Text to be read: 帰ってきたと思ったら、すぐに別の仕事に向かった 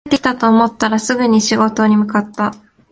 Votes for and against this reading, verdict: 0, 2, rejected